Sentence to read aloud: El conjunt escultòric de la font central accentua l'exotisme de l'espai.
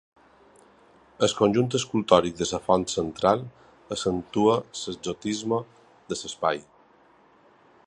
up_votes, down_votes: 0, 2